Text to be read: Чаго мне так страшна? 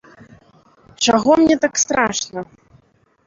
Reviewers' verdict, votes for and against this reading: rejected, 0, 2